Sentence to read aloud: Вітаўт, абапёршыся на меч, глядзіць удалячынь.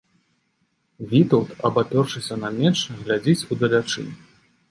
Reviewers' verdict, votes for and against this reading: accepted, 2, 0